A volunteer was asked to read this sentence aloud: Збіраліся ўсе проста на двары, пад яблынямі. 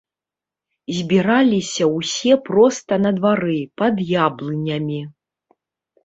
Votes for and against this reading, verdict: 2, 0, accepted